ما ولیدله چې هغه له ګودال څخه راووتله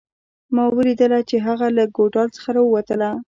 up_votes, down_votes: 1, 2